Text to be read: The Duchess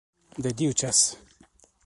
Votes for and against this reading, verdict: 1, 2, rejected